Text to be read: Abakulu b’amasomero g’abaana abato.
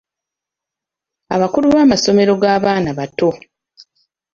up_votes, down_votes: 1, 2